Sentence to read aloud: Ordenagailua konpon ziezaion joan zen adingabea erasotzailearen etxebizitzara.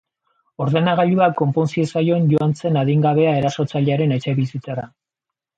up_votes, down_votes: 2, 0